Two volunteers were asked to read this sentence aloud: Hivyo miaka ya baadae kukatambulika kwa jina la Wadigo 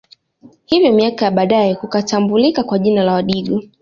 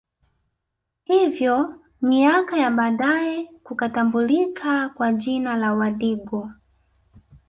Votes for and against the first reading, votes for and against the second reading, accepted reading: 2, 1, 1, 2, first